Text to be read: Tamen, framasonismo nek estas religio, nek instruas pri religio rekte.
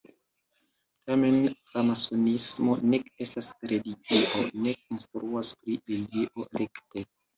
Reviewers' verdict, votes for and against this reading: accepted, 2, 1